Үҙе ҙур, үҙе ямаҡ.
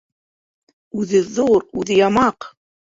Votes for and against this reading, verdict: 1, 2, rejected